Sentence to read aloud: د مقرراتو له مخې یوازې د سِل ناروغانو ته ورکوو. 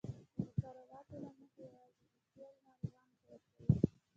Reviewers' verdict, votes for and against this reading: rejected, 0, 2